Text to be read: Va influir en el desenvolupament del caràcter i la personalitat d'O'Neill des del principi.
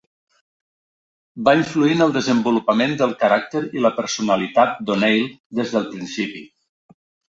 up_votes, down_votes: 2, 0